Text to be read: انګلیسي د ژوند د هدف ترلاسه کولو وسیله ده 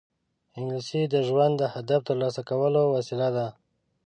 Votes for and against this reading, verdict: 2, 0, accepted